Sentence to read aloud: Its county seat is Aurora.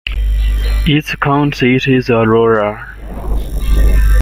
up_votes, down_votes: 1, 2